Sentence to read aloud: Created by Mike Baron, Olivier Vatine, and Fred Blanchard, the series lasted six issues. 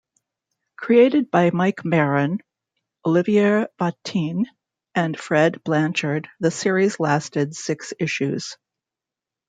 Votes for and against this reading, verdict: 2, 0, accepted